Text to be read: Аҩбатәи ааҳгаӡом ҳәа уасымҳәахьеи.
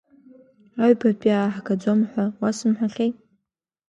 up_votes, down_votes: 2, 0